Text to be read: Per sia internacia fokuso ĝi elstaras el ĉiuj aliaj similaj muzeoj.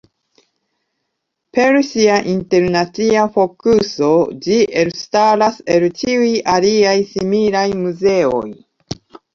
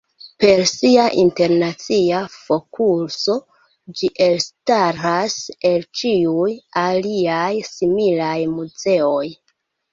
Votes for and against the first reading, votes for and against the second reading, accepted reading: 3, 0, 0, 2, first